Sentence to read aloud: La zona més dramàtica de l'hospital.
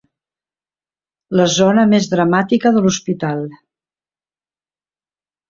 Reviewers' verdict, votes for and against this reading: accepted, 3, 0